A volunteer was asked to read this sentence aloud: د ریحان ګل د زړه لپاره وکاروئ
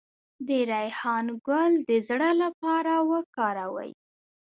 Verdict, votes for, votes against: rejected, 1, 2